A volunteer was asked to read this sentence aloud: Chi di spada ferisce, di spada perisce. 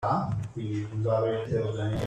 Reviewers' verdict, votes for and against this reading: rejected, 0, 2